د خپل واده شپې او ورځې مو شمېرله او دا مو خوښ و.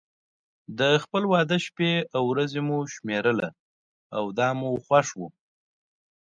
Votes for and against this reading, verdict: 2, 0, accepted